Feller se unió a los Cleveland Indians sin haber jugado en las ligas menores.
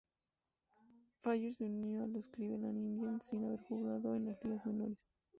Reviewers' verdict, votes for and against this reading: rejected, 0, 2